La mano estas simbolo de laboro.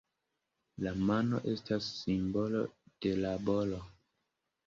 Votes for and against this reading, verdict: 2, 0, accepted